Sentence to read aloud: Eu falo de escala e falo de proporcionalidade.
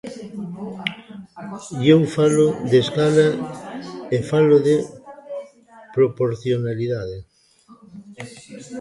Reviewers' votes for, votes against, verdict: 1, 2, rejected